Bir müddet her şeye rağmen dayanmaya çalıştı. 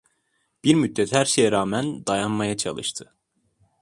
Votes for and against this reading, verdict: 2, 0, accepted